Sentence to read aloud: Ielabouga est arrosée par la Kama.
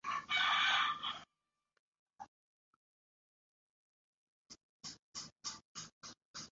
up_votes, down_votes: 1, 2